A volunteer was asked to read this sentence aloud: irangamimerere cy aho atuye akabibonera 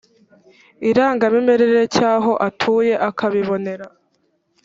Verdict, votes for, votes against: accepted, 2, 0